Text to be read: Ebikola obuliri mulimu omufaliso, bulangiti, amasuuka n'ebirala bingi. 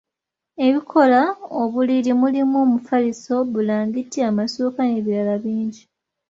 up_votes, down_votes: 3, 0